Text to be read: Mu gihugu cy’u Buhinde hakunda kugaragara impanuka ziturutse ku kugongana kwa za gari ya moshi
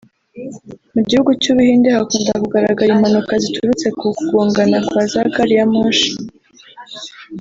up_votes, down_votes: 3, 0